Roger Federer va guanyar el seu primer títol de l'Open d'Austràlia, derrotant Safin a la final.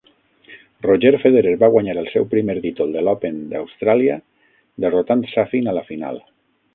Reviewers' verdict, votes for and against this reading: accepted, 6, 0